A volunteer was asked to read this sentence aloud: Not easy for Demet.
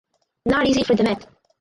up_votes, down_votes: 0, 4